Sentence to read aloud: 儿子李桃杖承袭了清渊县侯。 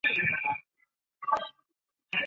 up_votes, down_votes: 0, 2